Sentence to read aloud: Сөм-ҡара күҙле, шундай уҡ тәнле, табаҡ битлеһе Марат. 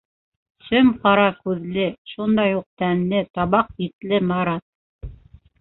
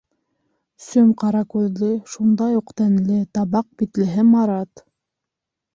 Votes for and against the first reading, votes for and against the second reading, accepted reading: 0, 2, 2, 0, second